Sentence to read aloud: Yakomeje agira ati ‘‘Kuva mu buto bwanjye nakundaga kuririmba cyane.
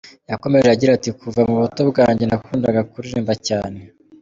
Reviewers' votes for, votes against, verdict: 0, 2, rejected